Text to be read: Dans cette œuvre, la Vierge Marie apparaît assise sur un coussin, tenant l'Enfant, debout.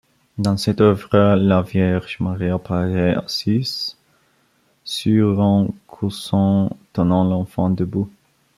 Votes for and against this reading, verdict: 1, 2, rejected